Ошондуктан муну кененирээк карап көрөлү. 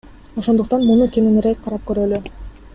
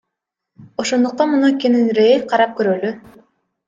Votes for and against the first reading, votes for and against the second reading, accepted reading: 3, 0, 1, 2, first